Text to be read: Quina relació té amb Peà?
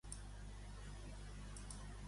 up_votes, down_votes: 1, 2